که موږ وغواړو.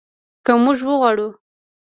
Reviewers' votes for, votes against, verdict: 1, 2, rejected